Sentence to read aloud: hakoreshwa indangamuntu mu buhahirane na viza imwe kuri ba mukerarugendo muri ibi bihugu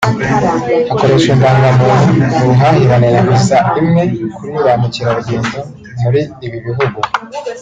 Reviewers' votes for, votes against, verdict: 0, 2, rejected